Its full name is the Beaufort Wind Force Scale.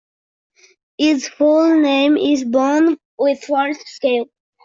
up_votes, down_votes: 0, 2